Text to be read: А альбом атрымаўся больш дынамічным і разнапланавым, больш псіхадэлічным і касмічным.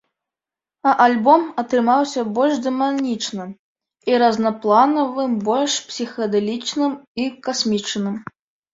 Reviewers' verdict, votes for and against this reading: accepted, 2, 1